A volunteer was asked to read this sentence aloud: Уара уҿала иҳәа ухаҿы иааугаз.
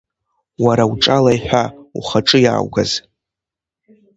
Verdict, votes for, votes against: accepted, 2, 0